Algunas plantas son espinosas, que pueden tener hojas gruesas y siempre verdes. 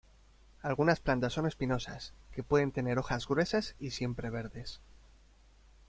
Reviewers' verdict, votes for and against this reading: accepted, 2, 0